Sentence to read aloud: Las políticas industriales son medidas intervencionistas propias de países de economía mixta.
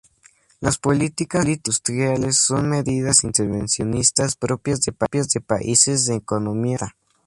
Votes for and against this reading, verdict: 2, 4, rejected